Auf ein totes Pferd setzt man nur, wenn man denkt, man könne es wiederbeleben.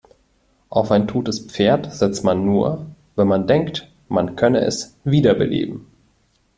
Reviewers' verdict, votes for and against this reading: accepted, 2, 0